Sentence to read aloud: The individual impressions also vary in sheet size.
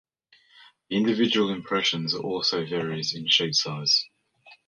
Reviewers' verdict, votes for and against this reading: accepted, 2, 0